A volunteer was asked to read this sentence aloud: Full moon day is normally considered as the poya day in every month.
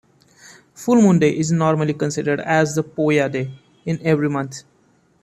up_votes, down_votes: 2, 0